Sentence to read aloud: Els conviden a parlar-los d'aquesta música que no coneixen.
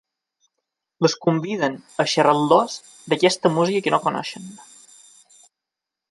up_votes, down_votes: 1, 2